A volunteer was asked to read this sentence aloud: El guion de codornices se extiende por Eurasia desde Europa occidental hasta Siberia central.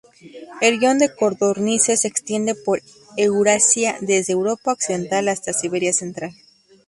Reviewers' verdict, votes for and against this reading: rejected, 0, 2